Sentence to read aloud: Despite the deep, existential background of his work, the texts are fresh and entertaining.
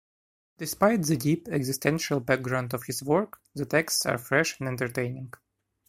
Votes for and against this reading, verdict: 1, 2, rejected